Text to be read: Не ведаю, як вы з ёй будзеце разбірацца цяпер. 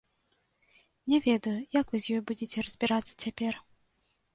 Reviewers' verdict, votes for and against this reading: accepted, 2, 0